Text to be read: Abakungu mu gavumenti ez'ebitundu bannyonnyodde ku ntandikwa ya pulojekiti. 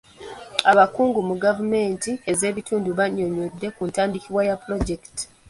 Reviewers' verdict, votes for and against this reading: rejected, 1, 2